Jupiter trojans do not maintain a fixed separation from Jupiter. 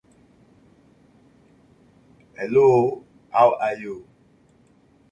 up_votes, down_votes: 0, 2